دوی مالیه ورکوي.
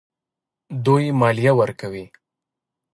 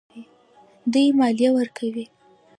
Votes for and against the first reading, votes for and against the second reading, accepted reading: 0, 2, 2, 0, second